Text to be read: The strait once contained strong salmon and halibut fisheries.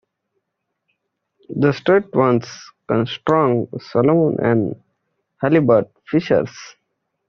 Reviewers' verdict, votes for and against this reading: rejected, 0, 2